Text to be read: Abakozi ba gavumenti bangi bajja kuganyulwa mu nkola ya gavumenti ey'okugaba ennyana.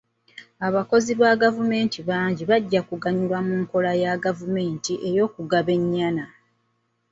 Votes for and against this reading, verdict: 2, 0, accepted